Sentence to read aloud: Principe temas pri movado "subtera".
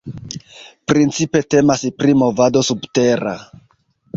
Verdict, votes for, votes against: accepted, 2, 1